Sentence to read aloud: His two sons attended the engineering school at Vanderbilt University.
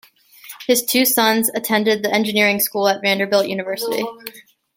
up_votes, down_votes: 0, 2